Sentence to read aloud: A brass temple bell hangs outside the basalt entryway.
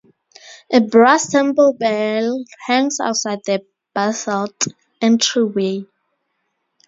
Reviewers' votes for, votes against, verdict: 0, 4, rejected